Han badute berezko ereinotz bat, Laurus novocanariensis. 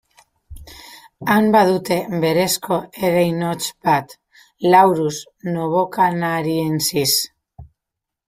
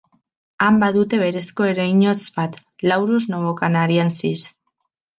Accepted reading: second